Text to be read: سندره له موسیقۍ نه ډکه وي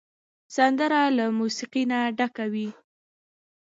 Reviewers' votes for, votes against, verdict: 2, 1, accepted